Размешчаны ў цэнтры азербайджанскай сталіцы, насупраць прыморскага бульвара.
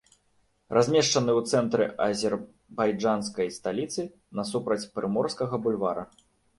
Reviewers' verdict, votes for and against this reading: rejected, 1, 2